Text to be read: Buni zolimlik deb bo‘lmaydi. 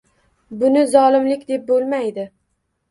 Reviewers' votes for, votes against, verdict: 2, 0, accepted